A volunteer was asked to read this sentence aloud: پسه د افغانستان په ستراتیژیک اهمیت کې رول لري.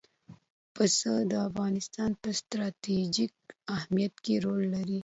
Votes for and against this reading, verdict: 2, 0, accepted